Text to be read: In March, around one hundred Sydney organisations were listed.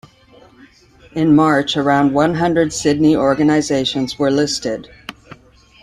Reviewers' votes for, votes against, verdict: 2, 1, accepted